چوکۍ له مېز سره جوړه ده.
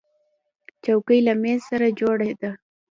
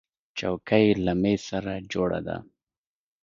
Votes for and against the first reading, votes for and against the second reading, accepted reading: 0, 2, 2, 1, second